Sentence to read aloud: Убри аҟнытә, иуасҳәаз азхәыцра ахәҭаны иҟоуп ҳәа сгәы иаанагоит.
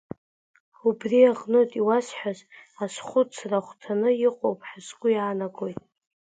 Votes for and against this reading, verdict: 2, 1, accepted